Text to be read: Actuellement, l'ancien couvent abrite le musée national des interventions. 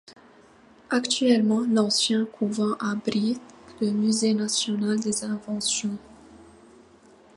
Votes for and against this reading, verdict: 0, 2, rejected